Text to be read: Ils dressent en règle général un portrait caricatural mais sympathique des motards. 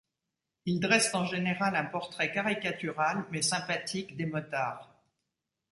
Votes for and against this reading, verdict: 0, 2, rejected